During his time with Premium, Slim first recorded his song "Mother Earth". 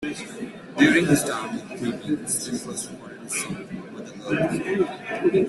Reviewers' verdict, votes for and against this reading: rejected, 0, 2